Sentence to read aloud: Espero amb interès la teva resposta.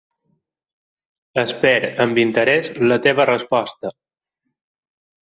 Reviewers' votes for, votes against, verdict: 4, 0, accepted